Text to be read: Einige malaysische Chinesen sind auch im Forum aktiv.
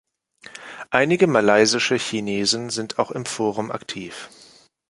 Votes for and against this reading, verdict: 2, 0, accepted